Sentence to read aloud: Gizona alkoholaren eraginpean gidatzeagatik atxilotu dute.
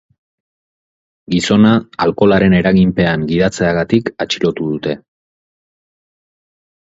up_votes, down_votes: 6, 0